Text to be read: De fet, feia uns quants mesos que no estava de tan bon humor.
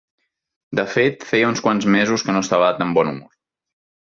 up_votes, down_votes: 1, 2